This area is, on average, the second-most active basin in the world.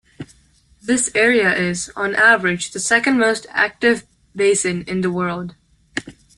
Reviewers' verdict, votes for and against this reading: accepted, 2, 0